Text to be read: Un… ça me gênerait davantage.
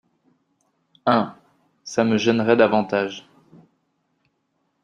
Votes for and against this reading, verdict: 2, 0, accepted